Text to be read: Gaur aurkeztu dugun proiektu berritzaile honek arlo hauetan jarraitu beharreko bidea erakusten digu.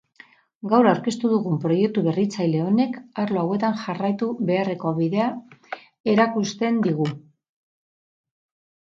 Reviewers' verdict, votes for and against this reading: rejected, 0, 2